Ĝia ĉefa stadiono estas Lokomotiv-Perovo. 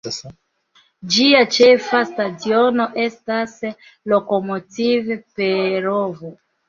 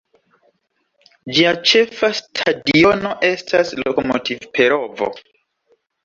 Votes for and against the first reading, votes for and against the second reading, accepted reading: 1, 2, 2, 1, second